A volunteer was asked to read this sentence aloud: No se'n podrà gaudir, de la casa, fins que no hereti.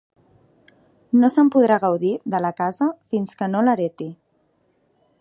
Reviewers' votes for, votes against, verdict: 0, 2, rejected